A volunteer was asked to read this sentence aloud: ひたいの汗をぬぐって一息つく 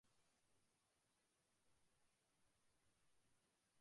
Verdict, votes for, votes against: rejected, 0, 2